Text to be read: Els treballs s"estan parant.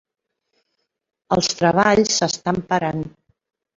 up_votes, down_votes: 3, 0